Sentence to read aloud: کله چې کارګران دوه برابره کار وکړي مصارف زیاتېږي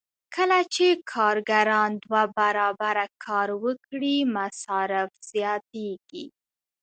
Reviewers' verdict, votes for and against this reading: accepted, 2, 0